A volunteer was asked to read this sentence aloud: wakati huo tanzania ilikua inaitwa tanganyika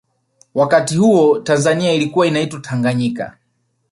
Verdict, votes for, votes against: rejected, 1, 2